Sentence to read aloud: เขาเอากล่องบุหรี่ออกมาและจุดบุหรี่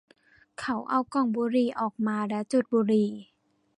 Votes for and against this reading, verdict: 2, 0, accepted